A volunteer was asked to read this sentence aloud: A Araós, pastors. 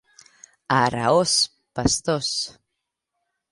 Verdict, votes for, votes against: accepted, 2, 0